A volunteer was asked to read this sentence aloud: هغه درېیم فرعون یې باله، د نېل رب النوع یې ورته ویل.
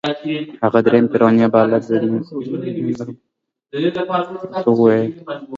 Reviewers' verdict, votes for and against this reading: rejected, 0, 2